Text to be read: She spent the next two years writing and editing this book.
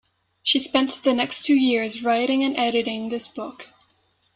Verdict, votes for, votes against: accepted, 2, 1